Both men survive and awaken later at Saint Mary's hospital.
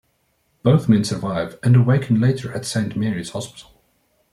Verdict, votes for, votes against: accepted, 2, 0